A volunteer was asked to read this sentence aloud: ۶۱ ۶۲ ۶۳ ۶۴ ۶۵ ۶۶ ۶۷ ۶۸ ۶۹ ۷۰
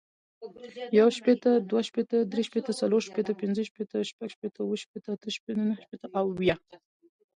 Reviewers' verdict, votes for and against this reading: rejected, 0, 2